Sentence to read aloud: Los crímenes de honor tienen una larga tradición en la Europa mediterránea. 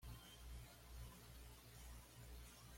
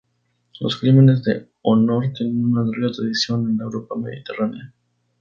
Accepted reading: second